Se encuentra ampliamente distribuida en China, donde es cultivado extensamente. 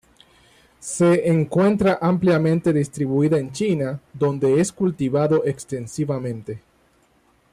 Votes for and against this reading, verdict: 2, 1, accepted